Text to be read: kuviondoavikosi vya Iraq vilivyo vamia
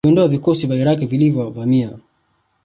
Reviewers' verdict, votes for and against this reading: accepted, 2, 1